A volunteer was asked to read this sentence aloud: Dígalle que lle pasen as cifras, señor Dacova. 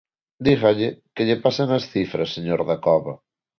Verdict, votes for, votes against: accepted, 2, 0